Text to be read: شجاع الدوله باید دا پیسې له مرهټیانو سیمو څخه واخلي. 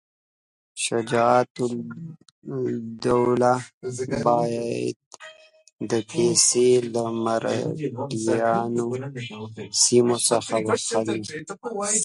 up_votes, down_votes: 1, 2